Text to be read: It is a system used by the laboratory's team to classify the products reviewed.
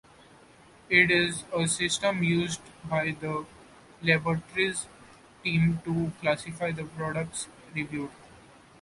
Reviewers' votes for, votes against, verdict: 2, 0, accepted